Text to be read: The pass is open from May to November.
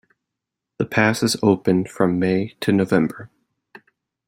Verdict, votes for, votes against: accepted, 2, 0